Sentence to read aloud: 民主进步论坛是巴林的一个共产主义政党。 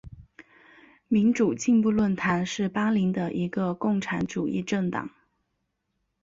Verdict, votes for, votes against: accepted, 4, 0